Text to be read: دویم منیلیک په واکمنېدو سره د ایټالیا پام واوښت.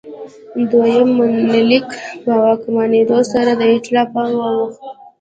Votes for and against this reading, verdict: 0, 2, rejected